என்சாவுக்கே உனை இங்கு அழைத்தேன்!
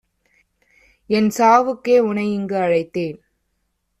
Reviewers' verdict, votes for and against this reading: accepted, 2, 0